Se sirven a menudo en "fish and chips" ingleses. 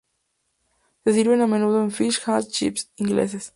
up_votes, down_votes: 2, 0